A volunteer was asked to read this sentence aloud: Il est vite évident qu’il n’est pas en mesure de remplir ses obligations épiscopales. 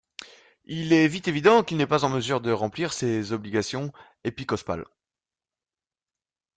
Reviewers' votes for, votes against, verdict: 0, 2, rejected